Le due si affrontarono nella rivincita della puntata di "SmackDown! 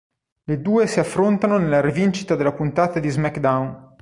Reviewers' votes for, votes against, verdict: 0, 2, rejected